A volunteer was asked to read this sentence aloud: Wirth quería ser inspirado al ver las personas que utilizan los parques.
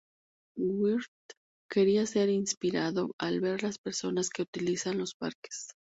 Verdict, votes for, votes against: rejected, 2, 4